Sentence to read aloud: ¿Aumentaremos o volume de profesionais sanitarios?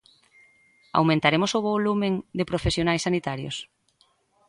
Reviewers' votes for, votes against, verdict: 0, 2, rejected